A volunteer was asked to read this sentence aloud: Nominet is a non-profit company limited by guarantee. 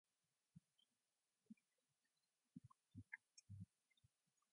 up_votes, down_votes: 0, 2